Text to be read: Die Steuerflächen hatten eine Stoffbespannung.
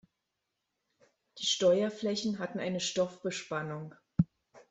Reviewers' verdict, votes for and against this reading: rejected, 1, 2